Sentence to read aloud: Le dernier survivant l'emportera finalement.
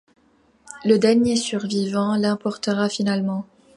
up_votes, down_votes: 2, 0